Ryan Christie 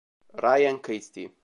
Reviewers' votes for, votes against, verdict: 2, 0, accepted